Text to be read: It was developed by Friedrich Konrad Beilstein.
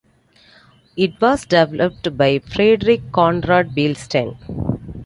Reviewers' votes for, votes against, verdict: 2, 0, accepted